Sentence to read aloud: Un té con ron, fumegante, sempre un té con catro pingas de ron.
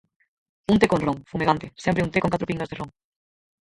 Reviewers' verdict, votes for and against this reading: rejected, 0, 4